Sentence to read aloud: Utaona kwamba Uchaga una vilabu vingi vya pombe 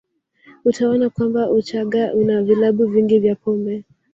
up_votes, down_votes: 2, 0